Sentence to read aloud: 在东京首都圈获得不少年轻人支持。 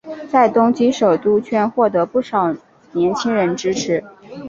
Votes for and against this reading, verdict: 2, 0, accepted